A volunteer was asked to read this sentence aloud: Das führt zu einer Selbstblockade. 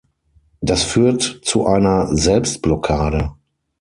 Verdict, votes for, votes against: accepted, 6, 0